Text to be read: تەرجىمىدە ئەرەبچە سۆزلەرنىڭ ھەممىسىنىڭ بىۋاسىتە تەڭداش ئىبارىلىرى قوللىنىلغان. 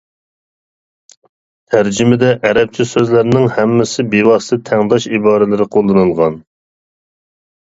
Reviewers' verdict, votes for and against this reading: rejected, 0, 2